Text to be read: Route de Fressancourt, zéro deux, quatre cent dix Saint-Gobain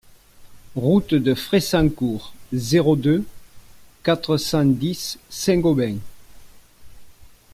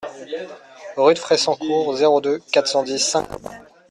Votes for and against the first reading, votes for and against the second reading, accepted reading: 2, 0, 1, 2, first